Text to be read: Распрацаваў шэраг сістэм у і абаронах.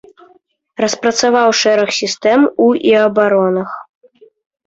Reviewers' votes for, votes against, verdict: 2, 0, accepted